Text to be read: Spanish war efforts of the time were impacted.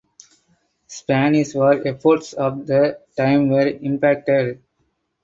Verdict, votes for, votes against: accepted, 4, 2